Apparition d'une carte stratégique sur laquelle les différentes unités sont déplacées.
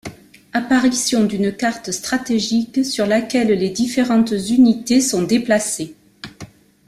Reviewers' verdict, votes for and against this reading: accepted, 2, 0